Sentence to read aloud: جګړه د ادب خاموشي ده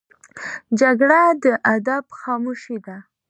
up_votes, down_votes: 2, 0